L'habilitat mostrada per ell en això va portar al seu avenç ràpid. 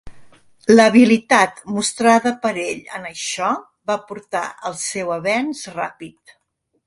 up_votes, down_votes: 4, 0